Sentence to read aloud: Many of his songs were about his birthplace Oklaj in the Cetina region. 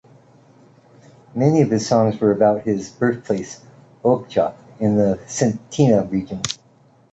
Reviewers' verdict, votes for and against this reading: rejected, 1, 2